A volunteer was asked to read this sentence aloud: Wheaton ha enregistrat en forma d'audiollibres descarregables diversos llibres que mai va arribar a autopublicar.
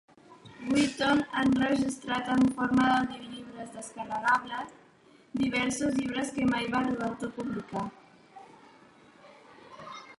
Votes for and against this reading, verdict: 0, 2, rejected